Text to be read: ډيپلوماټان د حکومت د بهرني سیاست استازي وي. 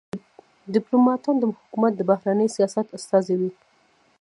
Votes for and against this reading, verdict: 0, 2, rejected